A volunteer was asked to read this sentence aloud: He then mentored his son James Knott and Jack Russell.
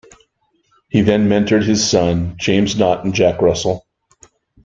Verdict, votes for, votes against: accepted, 2, 0